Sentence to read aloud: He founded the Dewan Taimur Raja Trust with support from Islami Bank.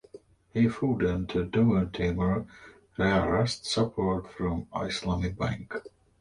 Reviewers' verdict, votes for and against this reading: rejected, 2, 2